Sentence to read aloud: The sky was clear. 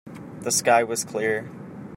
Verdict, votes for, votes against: accepted, 2, 0